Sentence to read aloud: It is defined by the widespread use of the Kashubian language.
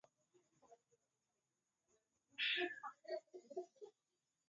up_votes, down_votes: 0, 4